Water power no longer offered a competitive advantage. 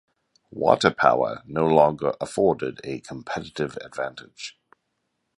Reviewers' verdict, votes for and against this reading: rejected, 1, 2